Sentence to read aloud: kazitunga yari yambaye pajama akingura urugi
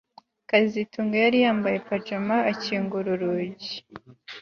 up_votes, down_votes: 2, 0